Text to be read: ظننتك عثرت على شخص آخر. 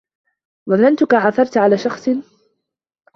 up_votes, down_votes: 0, 2